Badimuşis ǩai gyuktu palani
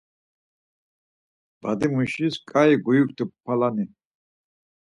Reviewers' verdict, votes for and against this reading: accepted, 4, 2